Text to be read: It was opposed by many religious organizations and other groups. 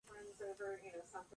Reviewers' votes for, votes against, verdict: 0, 2, rejected